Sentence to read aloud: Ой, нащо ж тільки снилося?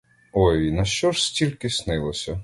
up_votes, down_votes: 2, 0